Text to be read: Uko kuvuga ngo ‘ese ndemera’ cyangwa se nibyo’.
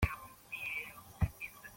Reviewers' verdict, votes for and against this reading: rejected, 0, 2